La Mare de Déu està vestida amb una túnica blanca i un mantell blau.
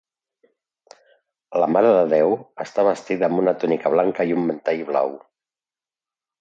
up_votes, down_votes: 2, 0